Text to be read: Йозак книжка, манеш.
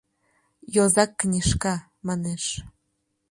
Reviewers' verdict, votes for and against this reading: accepted, 2, 0